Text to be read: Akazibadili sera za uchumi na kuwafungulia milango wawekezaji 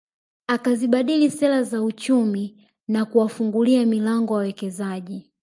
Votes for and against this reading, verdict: 2, 0, accepted